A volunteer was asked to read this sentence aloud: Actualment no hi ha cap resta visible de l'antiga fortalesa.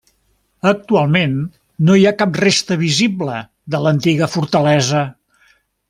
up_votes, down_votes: 3, 0